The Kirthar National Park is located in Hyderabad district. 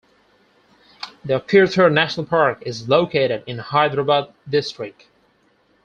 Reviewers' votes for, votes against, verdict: 2, 4, rejected